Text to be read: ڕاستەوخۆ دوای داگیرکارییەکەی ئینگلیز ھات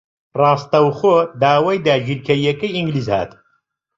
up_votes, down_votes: 1, 2